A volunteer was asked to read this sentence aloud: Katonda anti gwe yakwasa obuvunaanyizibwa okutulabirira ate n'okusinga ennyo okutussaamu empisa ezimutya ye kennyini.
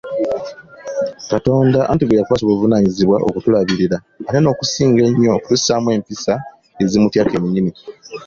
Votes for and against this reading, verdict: 2, 0, accepted